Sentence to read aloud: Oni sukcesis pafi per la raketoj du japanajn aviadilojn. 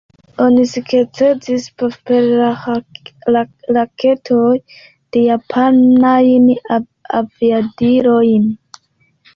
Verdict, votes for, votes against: rejected, 0, 3